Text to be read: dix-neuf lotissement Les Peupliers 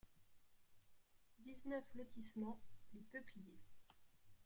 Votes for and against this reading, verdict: 0, 2, rejected